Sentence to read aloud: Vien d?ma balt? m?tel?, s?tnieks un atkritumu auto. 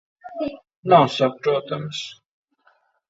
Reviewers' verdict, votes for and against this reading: rejected, 0, 2